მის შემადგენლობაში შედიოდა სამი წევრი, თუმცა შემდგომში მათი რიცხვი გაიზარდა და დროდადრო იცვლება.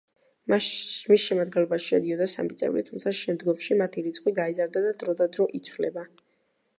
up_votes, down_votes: 0, 2